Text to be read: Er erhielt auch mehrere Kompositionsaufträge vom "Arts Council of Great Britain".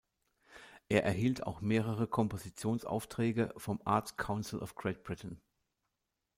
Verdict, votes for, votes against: accepted, 2, 0